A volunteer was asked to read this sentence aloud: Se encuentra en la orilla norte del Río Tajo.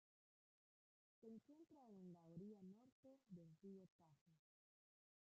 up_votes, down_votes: 0, 2